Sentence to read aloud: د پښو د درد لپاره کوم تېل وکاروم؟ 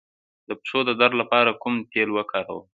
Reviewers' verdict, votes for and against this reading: accepted, 2, 0